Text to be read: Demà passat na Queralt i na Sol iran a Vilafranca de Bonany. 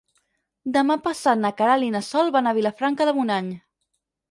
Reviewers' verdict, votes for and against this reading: rejected, 0, 4